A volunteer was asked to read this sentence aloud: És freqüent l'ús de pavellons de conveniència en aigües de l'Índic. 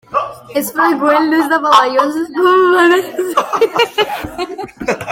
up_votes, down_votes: 0, 2